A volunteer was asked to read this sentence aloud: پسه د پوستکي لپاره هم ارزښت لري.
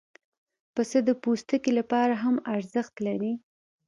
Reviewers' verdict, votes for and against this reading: accepted, 2, 0